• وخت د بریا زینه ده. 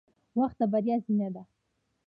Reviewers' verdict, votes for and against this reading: rejected, 1, 2